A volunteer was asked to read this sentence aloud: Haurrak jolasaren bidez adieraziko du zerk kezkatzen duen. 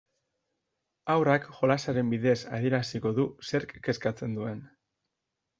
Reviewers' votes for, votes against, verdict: 2, 0, accepted